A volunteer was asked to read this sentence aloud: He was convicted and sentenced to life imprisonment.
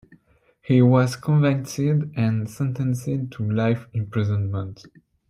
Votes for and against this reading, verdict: 2, 0, accepted